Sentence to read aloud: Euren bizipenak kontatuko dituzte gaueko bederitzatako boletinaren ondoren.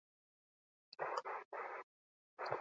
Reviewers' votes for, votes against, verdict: 0, 4, rejected